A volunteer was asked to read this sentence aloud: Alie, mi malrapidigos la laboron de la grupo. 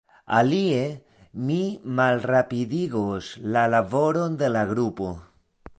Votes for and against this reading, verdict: 2, 0, accepted